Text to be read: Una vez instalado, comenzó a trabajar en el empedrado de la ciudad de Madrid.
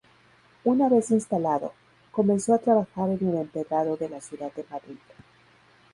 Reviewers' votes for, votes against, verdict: 2, 0, accepted